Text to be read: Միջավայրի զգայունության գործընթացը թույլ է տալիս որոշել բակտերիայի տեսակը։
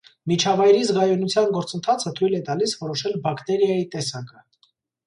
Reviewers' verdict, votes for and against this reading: accepted, 2, 0